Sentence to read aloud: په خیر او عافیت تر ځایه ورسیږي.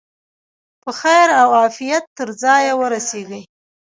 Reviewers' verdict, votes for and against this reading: rejected, 1, 2